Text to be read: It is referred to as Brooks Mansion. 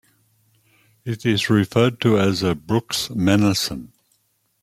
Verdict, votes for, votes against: rejected, 0, 2